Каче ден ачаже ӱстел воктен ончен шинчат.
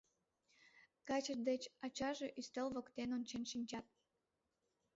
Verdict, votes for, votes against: accepted, 2, 1